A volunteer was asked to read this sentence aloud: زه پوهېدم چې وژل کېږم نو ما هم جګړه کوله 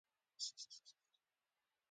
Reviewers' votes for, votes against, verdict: 0, 2, rejected